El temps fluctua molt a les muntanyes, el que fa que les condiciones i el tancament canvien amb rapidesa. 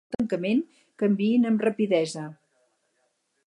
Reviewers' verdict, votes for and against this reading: rejected, 2, 2